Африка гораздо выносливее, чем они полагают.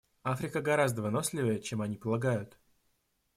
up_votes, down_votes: 3, 0